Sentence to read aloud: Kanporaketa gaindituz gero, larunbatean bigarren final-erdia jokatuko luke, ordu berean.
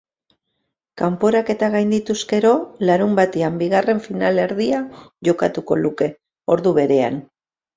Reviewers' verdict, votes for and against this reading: accepted, 2, 0